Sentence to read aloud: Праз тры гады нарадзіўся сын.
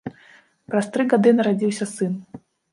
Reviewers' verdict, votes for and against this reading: rejected, 0, 2